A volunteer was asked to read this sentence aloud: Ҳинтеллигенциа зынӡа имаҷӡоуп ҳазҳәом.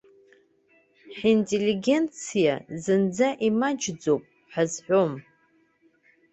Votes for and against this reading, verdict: 2, 0, accepted